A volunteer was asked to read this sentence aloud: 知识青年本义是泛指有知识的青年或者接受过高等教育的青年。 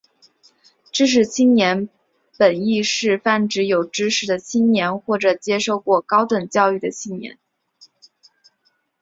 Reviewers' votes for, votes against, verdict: 5, 0, accepted